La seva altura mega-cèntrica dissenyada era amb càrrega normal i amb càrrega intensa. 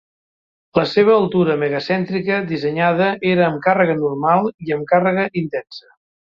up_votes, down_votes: 2, 0